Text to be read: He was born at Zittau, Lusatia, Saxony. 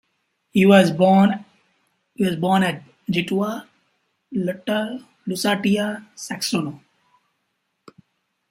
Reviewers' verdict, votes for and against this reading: rejected, 1, 2